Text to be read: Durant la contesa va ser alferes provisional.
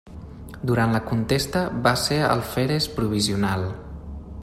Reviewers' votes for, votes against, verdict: 0, 2, rejected